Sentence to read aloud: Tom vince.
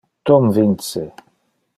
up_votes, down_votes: 2, 0